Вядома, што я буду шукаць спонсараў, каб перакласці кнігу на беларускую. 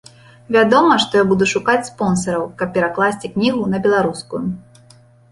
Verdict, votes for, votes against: accepted, 2, 0